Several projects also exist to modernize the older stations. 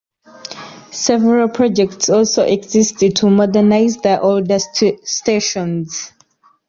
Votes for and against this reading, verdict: 1, 2, rejected